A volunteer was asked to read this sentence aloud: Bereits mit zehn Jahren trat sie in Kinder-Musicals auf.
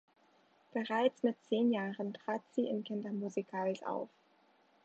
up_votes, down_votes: 1, 2